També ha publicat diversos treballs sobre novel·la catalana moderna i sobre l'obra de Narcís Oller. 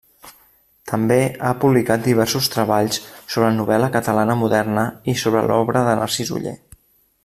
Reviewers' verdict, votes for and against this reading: accepted, 2, 0